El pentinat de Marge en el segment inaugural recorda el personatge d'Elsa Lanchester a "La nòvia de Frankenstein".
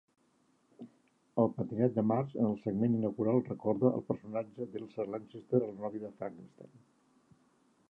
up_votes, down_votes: 0, 2